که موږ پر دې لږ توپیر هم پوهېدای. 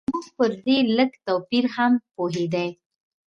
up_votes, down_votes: 1, 2